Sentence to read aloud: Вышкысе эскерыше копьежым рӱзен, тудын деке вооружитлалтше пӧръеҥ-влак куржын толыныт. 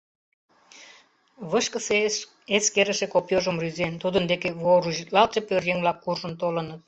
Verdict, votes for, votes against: rejected, 0, 2